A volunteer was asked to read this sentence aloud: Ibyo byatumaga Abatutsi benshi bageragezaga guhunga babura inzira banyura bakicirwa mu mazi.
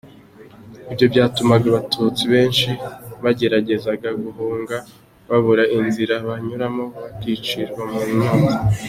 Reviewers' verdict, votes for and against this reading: rejected, 0, 2